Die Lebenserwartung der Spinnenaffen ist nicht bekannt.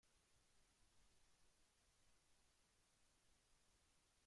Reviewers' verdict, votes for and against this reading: rejected, 0, 2